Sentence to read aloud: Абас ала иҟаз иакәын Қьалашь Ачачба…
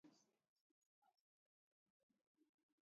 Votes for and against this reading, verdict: 1, 2, rejected